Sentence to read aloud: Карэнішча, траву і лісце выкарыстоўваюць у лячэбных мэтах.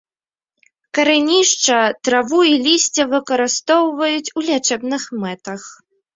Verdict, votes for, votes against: rejected, 1, 2